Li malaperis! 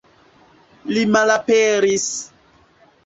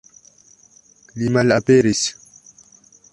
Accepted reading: second